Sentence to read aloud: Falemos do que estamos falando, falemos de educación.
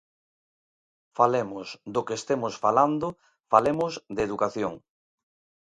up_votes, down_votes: 0, 2